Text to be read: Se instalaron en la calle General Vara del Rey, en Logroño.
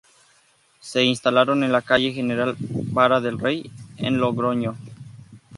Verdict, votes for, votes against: accepted, 2, 0